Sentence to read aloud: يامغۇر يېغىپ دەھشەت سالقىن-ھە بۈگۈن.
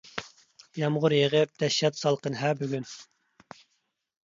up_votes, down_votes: 2, 0